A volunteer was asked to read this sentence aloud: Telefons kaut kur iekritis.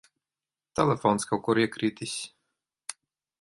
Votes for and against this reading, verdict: 1, 2, rejected